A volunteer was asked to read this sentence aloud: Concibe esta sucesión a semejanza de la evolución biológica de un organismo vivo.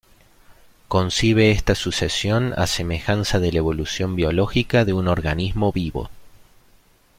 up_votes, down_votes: 2, 0